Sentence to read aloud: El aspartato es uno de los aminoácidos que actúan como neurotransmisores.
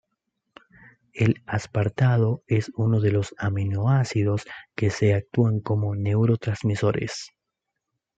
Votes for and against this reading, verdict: 0, 2, rejected